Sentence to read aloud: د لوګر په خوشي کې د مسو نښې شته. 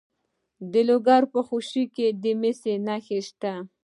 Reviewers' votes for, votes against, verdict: 2, 0, accepted